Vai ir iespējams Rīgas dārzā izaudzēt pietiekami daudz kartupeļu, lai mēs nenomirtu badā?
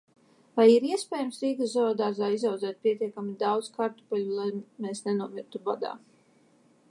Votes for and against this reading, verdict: 0, 2, rejected